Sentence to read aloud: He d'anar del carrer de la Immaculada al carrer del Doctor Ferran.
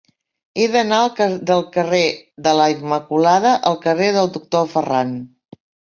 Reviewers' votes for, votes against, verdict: 0, 3, rejected